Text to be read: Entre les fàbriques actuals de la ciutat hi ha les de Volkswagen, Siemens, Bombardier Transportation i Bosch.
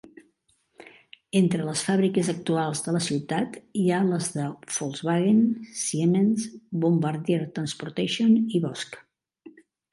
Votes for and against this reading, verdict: 2, 0, accepted